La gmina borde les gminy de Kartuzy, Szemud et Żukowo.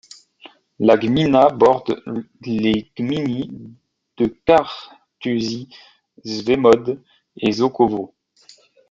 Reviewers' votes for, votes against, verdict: 1, 2, rejected